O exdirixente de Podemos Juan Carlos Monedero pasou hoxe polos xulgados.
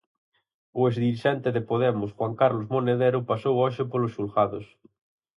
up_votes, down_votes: 4, 0